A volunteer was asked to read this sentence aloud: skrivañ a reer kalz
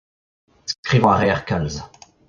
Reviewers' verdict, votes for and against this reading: accepted, 2, 0